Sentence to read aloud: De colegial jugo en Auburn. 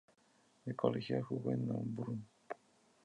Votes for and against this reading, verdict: 0, 2, rejected